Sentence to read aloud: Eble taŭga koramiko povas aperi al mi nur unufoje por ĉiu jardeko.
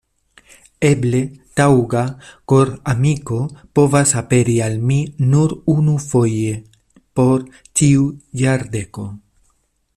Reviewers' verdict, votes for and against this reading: accepted, 2, 0